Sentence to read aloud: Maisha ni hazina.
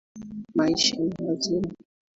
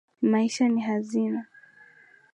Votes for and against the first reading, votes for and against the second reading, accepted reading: 1, 2, 2, 1, second